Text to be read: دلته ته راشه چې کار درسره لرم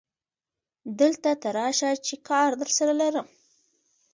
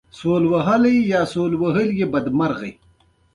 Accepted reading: first